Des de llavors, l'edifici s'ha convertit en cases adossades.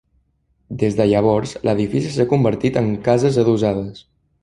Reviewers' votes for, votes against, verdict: 1, 2, rejected